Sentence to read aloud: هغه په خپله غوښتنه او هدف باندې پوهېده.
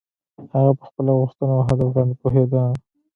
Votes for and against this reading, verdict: 0, 2, rejected